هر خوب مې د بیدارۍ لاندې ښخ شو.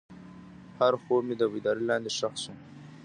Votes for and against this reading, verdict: 0, 2, rejected